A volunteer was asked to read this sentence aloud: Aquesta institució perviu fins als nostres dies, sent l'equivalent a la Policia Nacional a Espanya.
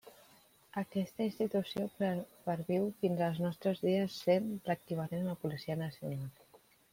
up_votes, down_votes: 0, 2